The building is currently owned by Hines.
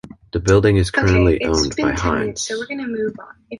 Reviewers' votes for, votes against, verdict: 1, 2, rejected